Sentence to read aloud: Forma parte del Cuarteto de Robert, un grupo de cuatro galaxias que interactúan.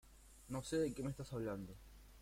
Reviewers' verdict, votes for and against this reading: rejected, 1, 2